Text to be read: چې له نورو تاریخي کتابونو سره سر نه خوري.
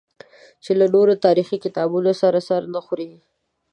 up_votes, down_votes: 2, 0